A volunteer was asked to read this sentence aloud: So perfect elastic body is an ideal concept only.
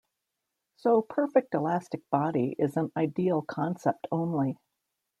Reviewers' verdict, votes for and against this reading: accepted, 2, 0